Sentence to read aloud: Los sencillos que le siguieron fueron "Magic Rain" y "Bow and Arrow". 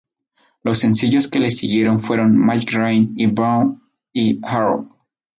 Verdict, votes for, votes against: rejected, 0, 2